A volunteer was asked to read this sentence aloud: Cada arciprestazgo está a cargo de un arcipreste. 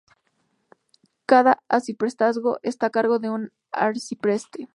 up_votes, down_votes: 2, 0